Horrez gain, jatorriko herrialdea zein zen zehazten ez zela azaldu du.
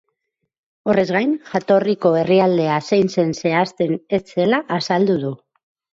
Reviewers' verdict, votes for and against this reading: accepted, 4, 0